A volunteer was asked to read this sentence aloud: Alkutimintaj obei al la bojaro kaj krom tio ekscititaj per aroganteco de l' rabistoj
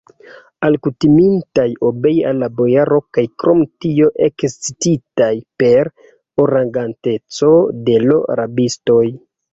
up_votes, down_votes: 0, 2